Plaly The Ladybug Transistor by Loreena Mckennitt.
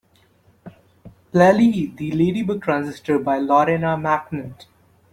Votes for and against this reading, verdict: 2, 3, rejected